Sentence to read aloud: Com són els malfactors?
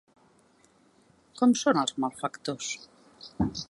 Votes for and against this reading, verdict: 2, 0, accepted